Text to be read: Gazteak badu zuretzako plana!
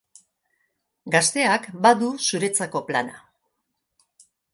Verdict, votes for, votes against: accepted, 2, 0